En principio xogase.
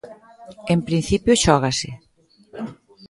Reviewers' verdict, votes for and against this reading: rejected, 0, 2